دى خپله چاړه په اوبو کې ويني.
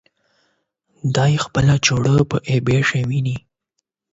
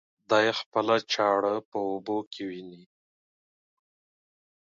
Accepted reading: second